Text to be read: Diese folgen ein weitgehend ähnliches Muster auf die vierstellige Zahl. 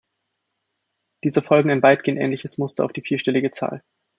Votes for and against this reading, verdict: 2, 0, accepted